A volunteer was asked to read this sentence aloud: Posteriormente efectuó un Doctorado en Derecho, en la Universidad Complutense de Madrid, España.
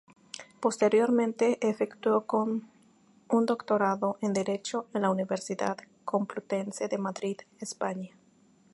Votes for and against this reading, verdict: 0, 2, rejected